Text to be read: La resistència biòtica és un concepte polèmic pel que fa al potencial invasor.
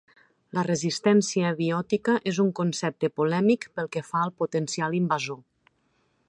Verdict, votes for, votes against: accepted, 3, 0